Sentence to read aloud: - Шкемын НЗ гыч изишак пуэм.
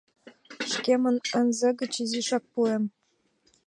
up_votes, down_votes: 3, 0